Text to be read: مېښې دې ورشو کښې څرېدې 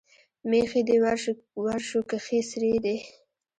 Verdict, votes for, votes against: accepted, 2, 0